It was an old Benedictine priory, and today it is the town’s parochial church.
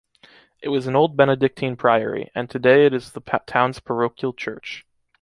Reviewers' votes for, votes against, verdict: 2, 0, accepted